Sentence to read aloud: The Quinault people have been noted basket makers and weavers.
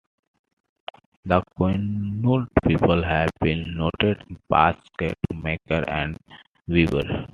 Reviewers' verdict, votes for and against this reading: accepted, 2, 0